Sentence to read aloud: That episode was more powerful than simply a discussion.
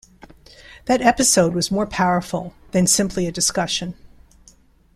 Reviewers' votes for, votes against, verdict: 2, 0, accepted